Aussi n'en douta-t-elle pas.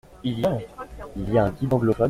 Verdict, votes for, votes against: rejected, 1, 2